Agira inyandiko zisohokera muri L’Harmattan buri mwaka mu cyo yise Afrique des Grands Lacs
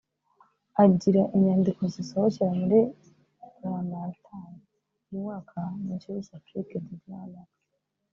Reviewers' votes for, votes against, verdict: 0, 2, rejected